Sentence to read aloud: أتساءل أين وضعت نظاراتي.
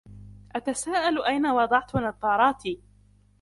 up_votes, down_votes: 2, 0